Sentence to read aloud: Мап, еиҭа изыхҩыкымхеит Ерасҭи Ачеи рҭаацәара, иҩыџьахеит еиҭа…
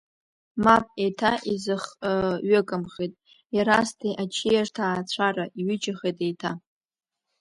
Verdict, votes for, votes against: rejected, 0, 2